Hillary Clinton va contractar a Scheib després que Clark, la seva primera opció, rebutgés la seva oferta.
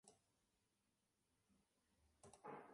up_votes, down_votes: 1, 2